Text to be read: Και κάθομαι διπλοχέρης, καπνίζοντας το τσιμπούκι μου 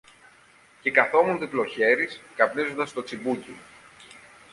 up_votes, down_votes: 0, 2